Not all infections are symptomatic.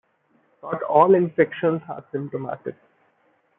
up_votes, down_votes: 2, 0